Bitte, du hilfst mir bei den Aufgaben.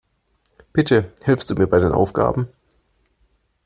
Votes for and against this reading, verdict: 1, 2, rejected